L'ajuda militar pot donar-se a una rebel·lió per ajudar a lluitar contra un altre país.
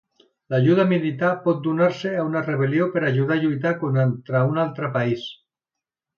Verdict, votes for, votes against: rejected, 1, 2